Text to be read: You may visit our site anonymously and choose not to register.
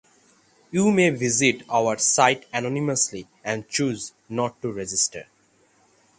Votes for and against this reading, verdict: 3, 3, rejected